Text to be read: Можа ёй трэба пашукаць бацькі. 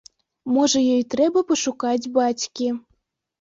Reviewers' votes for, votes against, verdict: 2, 0, accepted